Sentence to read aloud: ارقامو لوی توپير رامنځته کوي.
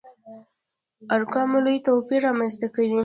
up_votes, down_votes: 2, 0